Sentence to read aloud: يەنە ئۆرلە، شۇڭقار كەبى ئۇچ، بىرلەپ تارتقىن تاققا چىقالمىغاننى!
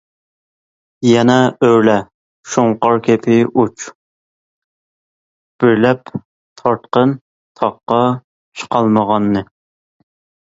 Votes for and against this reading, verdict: 2, 1, accepted